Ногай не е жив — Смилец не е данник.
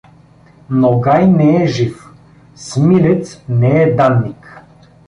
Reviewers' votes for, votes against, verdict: 2, 0, accepted